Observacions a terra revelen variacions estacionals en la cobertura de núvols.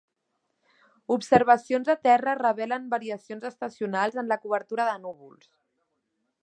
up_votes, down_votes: 2, 0